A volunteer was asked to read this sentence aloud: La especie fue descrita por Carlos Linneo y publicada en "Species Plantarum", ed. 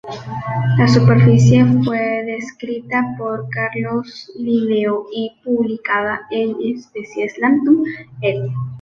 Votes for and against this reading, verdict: 0, 2, rejected